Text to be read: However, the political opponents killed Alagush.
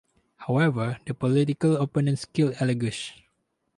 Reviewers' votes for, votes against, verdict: 0, 2, rejected